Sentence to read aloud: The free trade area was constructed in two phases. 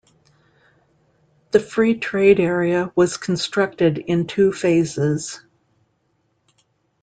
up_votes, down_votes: 2, 0